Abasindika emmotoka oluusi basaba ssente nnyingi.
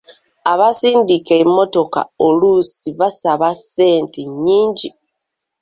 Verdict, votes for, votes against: accepted, 2, 0